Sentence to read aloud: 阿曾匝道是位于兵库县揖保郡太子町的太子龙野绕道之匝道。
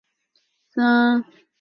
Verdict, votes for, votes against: rejected, 0, 2